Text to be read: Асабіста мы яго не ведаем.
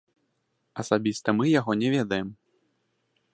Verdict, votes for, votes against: accepted, 2, 0